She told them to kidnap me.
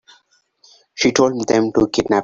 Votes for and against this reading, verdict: 0, 3, rejected